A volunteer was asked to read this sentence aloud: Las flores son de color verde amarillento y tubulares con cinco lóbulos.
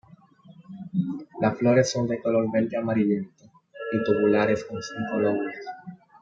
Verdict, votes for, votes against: accepted, 2, 0